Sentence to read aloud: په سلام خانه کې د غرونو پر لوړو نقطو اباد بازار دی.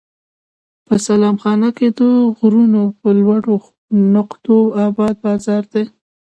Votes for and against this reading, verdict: 2, 0, accepted